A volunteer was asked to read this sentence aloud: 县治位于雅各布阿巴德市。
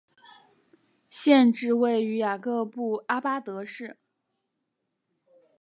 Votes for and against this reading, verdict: 3, 0, accepted